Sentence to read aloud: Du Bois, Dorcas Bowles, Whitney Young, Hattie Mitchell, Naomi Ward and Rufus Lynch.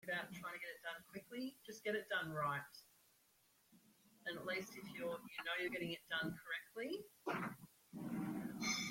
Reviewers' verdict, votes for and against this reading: rejected, 0, 2